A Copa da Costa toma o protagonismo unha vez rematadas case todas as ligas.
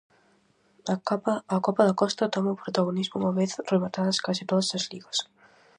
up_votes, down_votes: 0, 4